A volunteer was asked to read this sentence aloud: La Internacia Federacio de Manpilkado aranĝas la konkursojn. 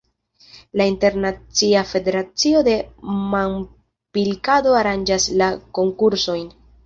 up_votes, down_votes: 1, 2